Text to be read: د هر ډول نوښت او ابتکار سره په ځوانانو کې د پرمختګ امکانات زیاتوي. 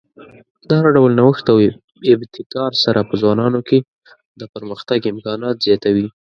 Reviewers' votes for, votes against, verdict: 2, 0, accepted